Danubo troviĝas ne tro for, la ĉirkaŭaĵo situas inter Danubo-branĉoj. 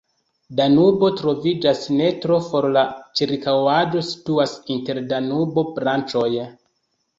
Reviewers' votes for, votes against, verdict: 2, 0, accepted